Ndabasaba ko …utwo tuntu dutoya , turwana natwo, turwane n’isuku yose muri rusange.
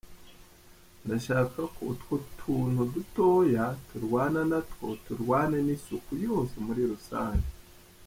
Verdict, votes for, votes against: rejected, 1, 2